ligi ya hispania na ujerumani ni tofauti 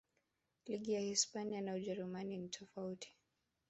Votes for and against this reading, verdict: 1, 2, rejected